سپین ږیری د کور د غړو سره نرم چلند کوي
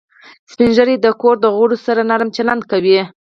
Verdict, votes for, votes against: rejected, 2, 4